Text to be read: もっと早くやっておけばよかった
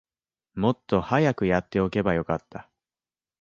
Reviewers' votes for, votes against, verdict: 2, 0, accepted